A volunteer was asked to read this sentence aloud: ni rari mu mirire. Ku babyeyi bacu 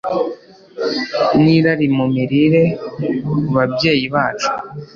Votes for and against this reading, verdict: 2, 0, accepted